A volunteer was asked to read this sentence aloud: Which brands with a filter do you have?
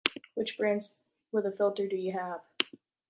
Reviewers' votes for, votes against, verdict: 2, 0, accepted